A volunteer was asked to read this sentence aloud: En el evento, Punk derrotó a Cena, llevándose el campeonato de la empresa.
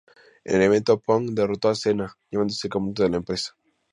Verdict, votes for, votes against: accepted, 2, 0